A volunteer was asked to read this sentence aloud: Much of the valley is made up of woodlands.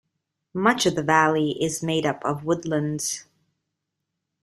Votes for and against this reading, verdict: 2, 0, accepted